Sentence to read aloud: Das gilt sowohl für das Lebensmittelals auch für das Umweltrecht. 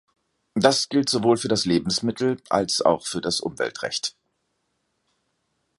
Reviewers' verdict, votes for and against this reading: rejected, 1, 2